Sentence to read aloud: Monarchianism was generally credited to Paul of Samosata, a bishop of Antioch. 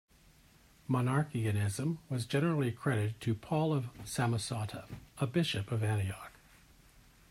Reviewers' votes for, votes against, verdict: 0, 2, rejected